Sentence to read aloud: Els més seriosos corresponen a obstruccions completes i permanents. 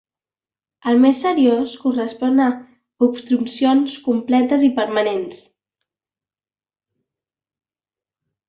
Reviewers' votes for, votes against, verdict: 1, 2, rejected